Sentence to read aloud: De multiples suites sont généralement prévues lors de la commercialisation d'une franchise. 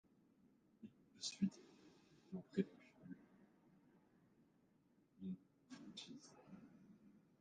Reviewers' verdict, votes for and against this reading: rejected, 0, 2